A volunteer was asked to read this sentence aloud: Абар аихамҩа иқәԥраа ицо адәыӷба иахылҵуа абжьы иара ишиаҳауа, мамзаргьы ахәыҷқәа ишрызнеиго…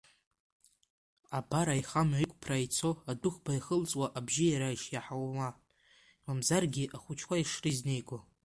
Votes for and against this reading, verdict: 2, 1, accepted